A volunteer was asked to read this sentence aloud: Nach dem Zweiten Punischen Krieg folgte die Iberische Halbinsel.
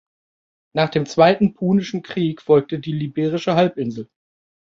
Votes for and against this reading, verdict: 0, 3, rejected